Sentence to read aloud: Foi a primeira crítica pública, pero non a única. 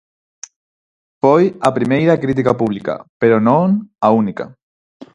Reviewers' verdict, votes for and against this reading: accepted, 4, 2